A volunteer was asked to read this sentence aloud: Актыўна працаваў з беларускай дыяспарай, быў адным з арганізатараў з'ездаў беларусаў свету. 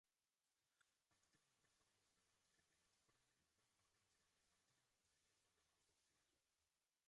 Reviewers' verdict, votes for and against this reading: rejected, 1, 2